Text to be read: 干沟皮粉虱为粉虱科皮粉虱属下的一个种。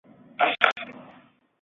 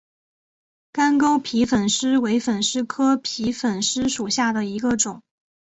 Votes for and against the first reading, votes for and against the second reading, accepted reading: 2, 4, 2, 0, second